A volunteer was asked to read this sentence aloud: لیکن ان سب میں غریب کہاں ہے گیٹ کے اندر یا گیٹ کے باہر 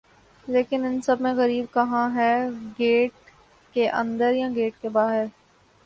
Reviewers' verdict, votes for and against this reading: accepted, 14, 3